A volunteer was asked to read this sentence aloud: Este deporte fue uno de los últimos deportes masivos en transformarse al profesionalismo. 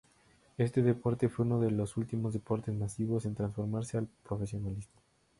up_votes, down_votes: 0, 2